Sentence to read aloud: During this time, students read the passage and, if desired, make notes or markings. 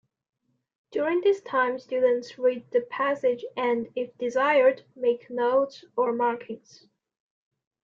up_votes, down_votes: 2, 0